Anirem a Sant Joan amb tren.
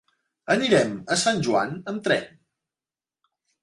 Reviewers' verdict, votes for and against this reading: accepted, 3, 0